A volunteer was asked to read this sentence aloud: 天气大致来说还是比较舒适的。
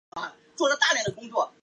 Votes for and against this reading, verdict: 0, 2, rejected